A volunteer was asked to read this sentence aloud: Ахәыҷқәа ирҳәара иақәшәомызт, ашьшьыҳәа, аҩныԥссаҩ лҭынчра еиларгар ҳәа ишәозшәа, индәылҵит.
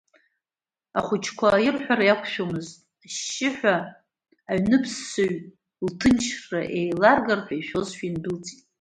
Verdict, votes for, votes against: accepted, 2, 0